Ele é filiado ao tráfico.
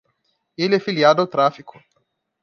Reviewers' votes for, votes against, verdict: 2, 0, accepted